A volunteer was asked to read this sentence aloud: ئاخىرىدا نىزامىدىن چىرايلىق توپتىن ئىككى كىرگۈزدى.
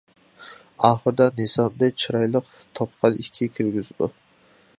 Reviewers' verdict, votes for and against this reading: rejected, 0, 2